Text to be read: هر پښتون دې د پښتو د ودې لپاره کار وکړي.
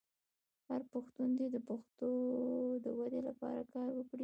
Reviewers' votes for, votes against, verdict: 0, 2, rejected